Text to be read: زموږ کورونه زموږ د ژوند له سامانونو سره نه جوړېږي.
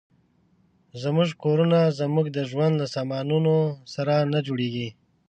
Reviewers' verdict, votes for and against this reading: accepted, 2, 0